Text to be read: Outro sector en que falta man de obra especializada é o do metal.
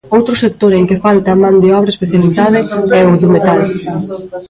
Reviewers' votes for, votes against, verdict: 0, 2, rejected